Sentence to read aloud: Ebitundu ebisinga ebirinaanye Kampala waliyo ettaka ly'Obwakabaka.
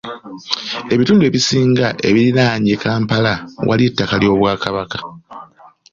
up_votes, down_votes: 2, 0